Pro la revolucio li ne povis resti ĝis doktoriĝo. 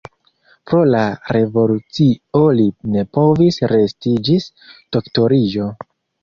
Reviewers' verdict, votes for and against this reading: accepted, 2, 1